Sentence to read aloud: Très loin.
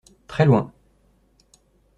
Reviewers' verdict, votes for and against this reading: accepted, 2, 0